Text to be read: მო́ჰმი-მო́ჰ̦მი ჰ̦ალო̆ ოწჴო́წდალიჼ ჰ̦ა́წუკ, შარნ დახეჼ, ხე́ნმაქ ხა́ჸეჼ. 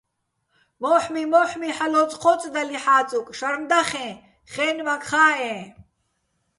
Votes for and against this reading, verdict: 2, 0, accepted